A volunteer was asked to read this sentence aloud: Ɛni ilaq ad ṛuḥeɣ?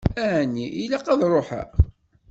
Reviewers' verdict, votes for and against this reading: accepted, 2, 0